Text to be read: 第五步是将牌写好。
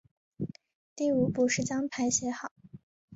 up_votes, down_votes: 6, 0